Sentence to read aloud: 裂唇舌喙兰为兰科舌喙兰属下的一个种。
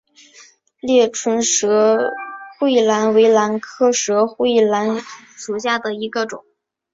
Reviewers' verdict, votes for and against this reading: accepted, 2, 0